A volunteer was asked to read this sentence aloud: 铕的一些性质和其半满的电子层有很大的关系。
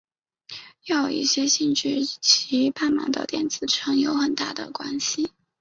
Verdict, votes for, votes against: accepted, 2, 1